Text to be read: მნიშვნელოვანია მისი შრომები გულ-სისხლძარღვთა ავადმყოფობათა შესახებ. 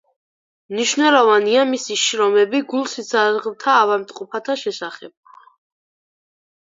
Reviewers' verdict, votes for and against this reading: rejected, 2, 4